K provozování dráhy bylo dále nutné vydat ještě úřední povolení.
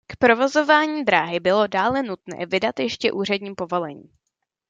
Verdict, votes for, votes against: accepted, 2, 0